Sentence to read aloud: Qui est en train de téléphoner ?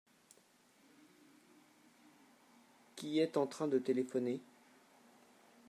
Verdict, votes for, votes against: rejected, 0, 2